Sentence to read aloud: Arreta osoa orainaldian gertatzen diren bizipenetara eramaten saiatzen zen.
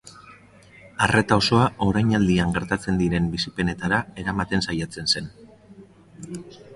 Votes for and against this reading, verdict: 2, 0, accepted